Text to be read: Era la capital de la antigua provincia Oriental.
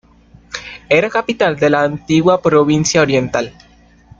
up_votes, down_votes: 1, 2